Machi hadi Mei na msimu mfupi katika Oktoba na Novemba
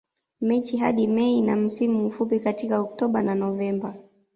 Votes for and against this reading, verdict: 2, 0, accepted